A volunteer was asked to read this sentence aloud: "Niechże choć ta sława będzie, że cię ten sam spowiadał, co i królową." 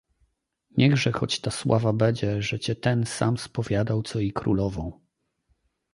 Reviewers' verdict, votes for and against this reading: rejected, 1, 2